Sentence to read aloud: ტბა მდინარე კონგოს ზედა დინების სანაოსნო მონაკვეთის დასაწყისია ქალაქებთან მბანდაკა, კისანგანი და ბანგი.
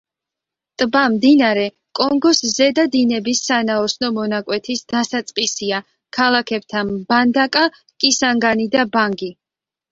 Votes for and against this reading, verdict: 2, 0, accepted